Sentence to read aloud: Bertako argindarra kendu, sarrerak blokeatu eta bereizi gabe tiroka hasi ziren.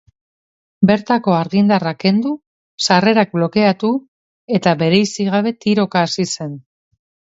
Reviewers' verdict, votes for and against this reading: rejected, 0, 3